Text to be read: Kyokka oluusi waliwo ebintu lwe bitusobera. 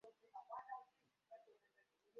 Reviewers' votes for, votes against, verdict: 0, 2, rejected